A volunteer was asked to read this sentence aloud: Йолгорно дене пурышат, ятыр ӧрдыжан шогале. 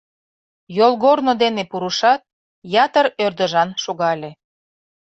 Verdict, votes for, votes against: accepted, 2, 0